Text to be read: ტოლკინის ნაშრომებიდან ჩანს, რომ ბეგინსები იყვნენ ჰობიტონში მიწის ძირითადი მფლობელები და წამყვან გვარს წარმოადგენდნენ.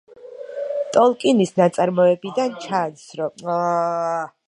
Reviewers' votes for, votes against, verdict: 0, 2, rejected